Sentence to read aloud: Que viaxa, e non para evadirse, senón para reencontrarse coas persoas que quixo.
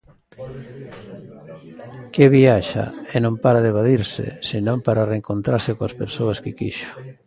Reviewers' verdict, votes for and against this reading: rejected, 0, 2